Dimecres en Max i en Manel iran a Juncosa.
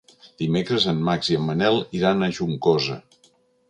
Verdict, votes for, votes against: accepted, 3, 0